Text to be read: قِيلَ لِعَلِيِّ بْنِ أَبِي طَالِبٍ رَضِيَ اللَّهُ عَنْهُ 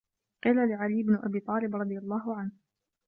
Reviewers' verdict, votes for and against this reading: accepted, 2, 0